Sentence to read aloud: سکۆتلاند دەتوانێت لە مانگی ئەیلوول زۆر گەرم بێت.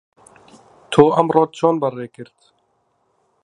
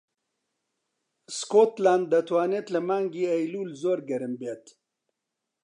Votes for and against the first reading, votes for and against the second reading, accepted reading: 0, 2, 2, 0, second